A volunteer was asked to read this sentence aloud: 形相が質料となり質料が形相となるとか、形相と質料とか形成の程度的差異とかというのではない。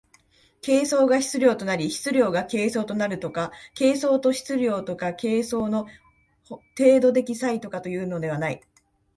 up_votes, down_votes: 1, 2